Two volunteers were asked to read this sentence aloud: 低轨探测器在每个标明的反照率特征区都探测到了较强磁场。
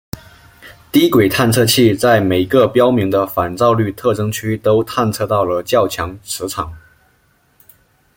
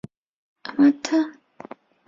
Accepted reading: first